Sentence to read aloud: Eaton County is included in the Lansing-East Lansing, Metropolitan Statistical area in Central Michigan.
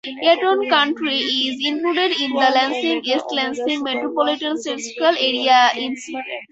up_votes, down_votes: 0, 4